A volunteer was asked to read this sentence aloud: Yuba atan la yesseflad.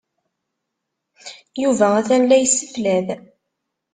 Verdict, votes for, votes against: accepted, 2, 0